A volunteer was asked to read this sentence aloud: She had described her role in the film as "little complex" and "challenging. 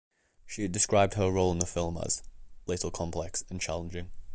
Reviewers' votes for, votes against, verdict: 2, 0, accepted